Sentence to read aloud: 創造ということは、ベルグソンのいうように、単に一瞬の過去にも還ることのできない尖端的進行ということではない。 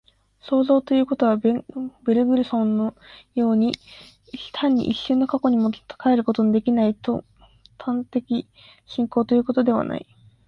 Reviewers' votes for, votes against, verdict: 2, 1, accepted